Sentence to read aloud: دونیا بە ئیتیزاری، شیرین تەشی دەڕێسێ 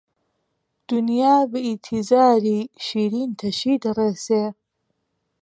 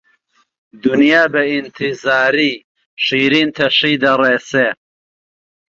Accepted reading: first